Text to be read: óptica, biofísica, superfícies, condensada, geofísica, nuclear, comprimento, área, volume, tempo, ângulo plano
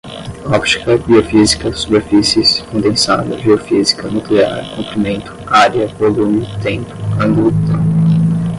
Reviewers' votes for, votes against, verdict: 0, 5, rejected